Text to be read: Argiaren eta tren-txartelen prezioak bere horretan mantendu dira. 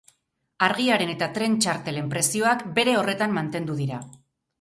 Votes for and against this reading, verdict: 2, 0, accepted